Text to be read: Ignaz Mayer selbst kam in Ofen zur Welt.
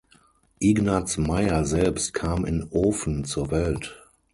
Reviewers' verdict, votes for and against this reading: accepted, 6, 0